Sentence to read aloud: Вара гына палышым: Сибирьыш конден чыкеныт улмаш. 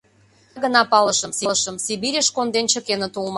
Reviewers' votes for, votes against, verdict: 0, 2, rejected